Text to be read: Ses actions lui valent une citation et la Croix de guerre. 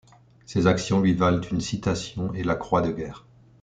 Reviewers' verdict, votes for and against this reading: accepted, 2, 0